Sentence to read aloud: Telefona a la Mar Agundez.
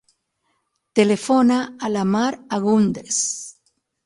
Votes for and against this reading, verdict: 6, 0, accepted